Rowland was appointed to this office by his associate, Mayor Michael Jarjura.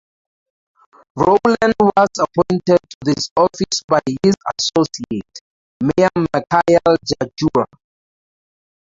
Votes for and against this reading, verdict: 0, 4, rejected